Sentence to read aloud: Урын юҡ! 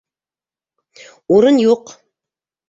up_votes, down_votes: 2, 0